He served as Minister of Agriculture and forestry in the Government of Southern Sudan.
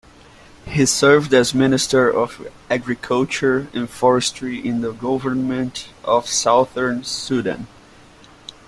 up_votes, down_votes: 2, 0